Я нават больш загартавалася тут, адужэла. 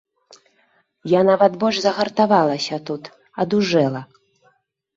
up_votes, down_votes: 3, 0